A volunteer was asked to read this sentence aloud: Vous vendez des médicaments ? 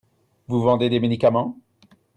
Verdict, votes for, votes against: accepted, 2, 0